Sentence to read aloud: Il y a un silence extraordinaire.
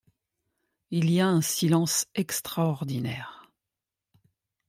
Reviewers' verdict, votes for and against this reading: accepted, 2, 0